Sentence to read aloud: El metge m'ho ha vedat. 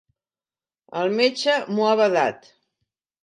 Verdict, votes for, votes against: accepted, 5, 0